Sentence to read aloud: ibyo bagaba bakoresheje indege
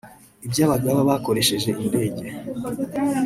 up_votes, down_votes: 2, 0